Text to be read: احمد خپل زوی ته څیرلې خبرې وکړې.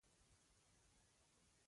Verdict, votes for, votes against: rejected, 1, 2